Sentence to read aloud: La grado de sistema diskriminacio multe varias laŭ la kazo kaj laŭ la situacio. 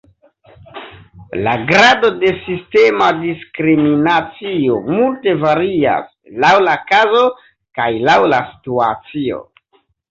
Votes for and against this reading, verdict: 1, 2, rejected